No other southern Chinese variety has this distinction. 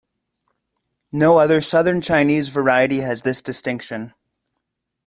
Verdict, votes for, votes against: accepted, 2, 1